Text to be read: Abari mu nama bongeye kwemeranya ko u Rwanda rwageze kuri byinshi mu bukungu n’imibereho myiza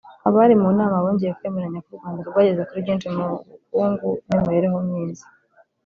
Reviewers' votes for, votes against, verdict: 0, 2, rejected